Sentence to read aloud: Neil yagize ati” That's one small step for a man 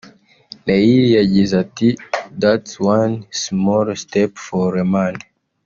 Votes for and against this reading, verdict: 0, 2, rejected